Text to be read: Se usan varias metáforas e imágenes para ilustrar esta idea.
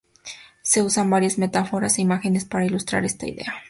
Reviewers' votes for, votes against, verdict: 4, 0, accepted